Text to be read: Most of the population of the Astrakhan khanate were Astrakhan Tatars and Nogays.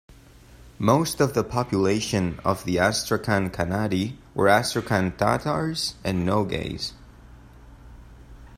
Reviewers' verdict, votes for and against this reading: accepted, 2, 1